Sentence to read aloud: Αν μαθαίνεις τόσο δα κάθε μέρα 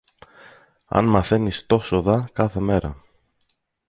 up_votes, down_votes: 2, 0